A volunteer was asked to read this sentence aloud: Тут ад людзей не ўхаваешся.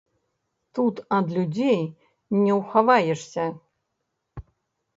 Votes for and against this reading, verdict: 2, 3, rejected